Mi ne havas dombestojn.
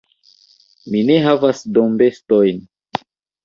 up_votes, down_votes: 2, 0